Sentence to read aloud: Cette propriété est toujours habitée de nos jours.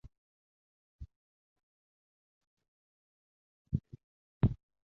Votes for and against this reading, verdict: 0, 2, rejected